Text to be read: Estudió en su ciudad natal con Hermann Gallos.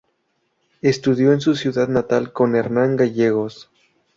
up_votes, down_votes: 0, 2